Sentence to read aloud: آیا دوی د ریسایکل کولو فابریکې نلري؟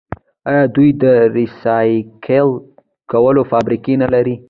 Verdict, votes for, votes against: rejected, 1, 2